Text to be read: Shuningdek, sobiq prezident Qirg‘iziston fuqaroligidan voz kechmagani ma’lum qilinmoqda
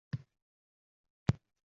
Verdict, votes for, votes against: rejected, 0, 2